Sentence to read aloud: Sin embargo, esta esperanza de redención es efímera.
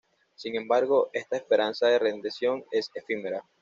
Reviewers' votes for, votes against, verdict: 1, 2, rejected